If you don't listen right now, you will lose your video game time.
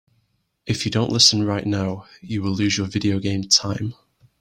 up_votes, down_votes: 2, 0